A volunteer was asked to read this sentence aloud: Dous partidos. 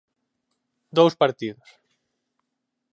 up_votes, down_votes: 4, 0